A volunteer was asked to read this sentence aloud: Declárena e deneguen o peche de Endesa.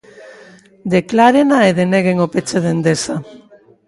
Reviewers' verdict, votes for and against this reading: accepted, 2, 0